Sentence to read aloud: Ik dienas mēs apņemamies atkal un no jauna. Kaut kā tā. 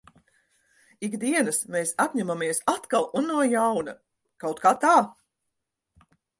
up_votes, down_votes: 4, 0